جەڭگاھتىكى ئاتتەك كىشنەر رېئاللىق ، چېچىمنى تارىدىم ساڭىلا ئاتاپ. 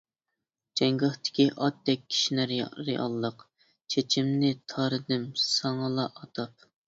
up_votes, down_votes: 0, 2